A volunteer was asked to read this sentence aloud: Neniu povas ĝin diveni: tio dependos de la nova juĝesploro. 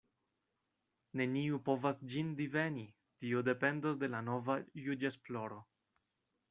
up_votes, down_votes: 2, 0